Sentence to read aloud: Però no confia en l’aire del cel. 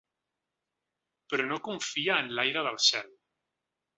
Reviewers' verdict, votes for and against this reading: accepted, 4, 0